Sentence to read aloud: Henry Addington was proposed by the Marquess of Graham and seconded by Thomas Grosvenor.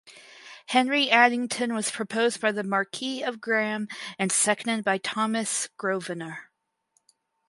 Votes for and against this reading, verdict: 0, 4, rejected